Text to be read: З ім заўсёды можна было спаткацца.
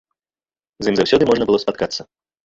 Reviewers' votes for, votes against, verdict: 1, 2, rejected